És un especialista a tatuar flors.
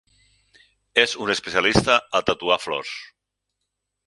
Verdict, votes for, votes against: accepted, 6, 0